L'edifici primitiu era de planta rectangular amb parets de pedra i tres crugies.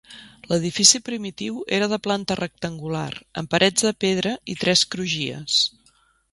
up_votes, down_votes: 3, 0